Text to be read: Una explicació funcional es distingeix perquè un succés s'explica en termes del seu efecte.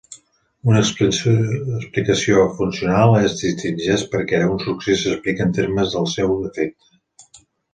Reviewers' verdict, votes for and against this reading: rejected, 0, 2